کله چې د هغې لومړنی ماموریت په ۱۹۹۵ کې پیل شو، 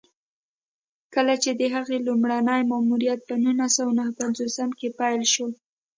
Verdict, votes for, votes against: rejected, 0, 2